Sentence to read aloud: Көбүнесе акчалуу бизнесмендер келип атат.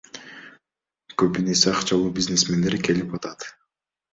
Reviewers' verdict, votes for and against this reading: rejected, 0, 2